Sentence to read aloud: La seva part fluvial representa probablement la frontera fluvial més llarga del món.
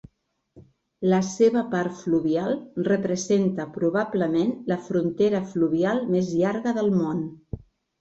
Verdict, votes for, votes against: rejected, 1, 2